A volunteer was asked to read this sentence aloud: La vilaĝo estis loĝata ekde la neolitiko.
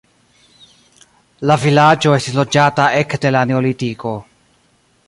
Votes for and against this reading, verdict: 1, 2, rejected